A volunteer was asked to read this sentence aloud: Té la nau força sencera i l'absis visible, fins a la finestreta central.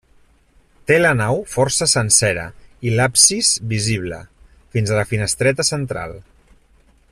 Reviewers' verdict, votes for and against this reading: accepted, 3, 0